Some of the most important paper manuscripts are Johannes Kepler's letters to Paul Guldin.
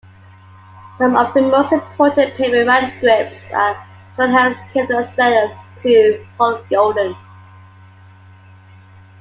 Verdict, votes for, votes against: rejected, 0, 2